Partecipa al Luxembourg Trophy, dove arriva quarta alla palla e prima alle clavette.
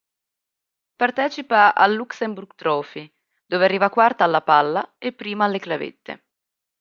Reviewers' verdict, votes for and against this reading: accepted, 2, 0